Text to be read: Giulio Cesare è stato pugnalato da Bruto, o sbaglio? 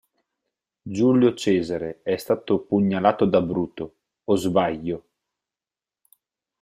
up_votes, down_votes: 2, 4